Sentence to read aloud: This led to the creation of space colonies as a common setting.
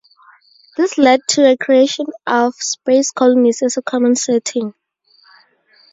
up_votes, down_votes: 4, 0